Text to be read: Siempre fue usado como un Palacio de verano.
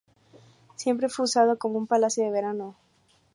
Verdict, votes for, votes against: accepted, 2, 0